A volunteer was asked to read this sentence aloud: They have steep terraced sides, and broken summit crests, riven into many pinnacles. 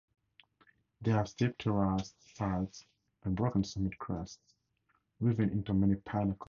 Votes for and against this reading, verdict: 2, 2, rejected